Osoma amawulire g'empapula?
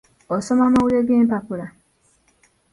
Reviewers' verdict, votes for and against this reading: accepted, 2, 1